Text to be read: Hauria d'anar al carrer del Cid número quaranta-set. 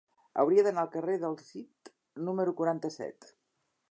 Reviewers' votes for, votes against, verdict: 2, 1, accepted